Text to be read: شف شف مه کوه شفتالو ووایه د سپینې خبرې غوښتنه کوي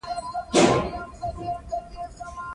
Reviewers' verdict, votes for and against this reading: accepted, 2, 1